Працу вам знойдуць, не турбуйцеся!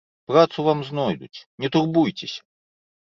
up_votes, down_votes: 1, 2